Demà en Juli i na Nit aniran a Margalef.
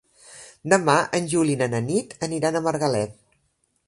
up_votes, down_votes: 1, 2